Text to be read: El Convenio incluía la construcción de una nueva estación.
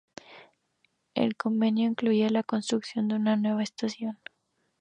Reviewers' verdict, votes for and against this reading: accepted, 2, 0